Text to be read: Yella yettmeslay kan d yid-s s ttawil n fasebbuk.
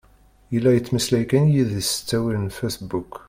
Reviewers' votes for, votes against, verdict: 2, 1, accepted